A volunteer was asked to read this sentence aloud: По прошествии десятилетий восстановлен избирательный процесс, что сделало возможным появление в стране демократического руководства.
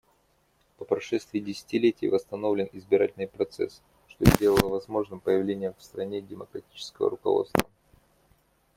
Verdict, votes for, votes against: rejected, 1, 2